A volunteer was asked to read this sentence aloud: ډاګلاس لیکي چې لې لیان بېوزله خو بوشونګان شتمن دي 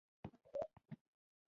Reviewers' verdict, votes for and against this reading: accepted, 2, 1